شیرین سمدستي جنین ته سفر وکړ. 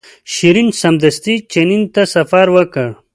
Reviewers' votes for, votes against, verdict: 1, 2, rejected